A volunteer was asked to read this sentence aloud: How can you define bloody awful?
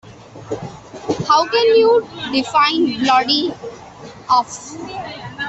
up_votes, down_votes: 0, 2